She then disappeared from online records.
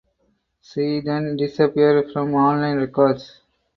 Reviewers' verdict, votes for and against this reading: rejected, 2, 2